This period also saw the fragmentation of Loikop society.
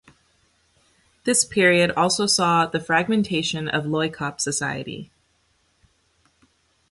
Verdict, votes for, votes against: accepted, 2, 0